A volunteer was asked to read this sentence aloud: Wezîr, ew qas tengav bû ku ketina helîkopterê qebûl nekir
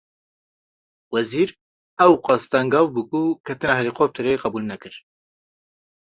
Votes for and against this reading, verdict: 2, 0, accepted